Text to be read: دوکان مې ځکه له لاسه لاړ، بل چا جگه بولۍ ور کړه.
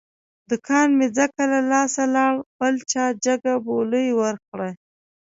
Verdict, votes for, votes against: accepted, 2, 0